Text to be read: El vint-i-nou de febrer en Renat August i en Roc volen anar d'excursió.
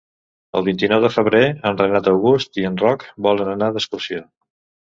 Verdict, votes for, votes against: accepted, 2, 0